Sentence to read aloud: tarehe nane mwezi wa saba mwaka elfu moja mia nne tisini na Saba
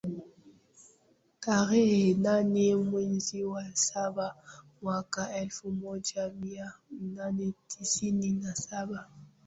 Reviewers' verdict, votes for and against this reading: rejected, 0, 2